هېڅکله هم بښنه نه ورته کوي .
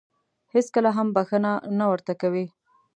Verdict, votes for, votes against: accepted, 2, 0